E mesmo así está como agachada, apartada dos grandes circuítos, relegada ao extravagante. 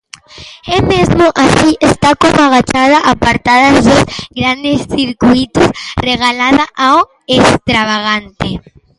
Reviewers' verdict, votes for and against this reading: rejected, 0, 2